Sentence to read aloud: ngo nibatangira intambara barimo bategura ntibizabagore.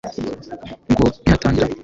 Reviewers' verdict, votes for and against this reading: rejected, 0, 2